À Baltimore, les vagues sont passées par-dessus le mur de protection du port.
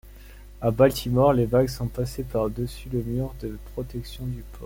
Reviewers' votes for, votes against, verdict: 1, 2, rejected